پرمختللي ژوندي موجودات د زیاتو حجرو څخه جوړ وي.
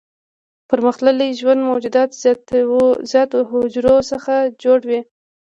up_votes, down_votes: 1, 2